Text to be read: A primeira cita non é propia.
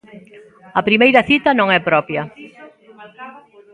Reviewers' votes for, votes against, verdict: 0, 2, rejected